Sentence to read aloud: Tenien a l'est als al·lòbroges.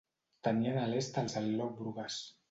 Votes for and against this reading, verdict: 0, 2, rejected